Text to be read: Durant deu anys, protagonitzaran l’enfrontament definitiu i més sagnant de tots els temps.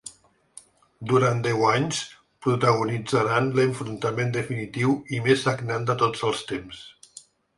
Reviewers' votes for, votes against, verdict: 3, 0, accepted